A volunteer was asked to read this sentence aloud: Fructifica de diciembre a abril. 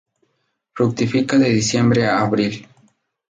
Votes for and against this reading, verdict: 4, 0, accepted